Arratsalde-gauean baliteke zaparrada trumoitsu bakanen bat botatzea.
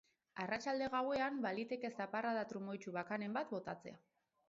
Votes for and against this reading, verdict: 2, 0, accepted